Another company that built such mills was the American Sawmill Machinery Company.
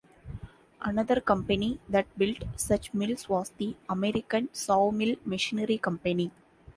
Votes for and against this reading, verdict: 2, 0, accepted